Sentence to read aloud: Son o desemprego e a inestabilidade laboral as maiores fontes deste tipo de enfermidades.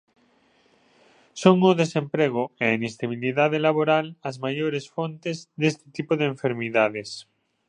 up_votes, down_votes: 2, 0